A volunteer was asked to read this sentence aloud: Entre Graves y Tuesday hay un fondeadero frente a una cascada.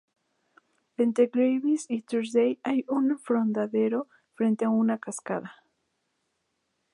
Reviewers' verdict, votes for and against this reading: rejected, 0, 2